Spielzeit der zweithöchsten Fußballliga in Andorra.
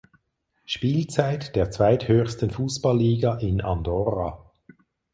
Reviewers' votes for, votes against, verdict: 4, 0, accepted